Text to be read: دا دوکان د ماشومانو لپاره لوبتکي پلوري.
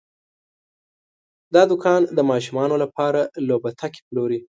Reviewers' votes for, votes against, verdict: 2, 0, accepted